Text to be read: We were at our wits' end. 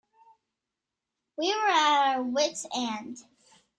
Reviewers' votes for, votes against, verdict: 1, 2, rejected